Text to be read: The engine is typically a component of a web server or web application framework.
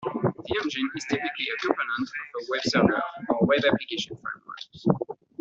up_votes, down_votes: 1, 2